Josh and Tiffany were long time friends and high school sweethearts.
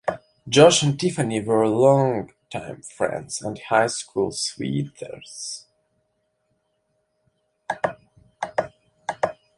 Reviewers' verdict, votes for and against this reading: rejected, 0, 2